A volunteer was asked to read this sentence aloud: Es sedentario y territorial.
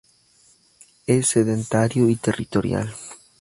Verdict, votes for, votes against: accepted, 4, 2